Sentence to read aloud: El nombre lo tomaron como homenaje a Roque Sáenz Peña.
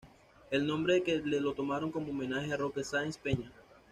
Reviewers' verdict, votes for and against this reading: rejected, 1, 2